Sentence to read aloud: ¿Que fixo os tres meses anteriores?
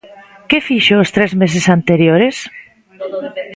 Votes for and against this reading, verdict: 0, 2, rejected